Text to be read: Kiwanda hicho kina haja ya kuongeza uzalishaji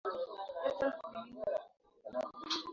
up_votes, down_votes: 0, 2